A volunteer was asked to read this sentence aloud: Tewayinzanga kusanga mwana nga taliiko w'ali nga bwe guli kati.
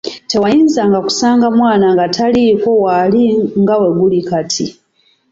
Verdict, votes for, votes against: accepted, 2, 0